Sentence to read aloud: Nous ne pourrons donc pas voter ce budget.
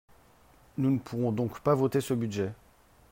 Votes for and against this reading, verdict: 4, 0, accepted